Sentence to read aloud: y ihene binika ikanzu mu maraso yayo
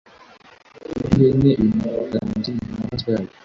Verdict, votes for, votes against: rejected, 1, 2